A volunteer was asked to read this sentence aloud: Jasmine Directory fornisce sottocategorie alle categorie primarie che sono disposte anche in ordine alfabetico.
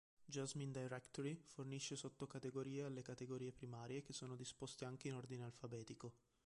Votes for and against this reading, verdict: 1, 2, rejected